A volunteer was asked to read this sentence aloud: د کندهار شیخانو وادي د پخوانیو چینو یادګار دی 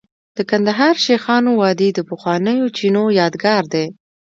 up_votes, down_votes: 2, 0